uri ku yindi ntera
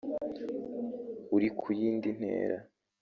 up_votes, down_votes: 1, 2